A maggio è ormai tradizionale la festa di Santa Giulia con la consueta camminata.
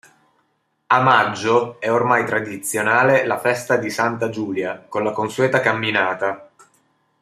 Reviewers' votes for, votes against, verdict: 2, 0, accepted